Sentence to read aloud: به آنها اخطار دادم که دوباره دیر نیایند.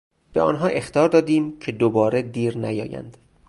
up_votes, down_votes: 2, 2